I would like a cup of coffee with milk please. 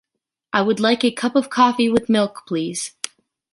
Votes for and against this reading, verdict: 2, 0, accepted